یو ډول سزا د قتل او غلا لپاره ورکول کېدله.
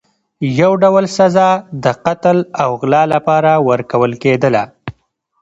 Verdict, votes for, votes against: accepted, 2, 0